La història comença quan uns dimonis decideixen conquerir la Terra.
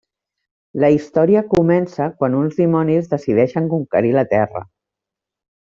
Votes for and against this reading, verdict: 3, 0, accepted